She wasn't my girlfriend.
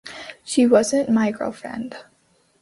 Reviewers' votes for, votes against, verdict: 2, 0, accepted